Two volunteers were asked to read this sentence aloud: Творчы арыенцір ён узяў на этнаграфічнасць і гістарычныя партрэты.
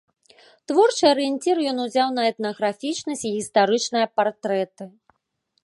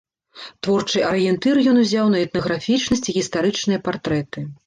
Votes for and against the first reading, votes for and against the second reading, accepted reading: 2, 0, 1, 2, first